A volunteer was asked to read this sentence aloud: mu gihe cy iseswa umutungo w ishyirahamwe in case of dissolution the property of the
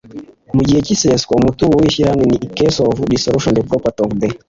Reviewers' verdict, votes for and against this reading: accepted, 3, 0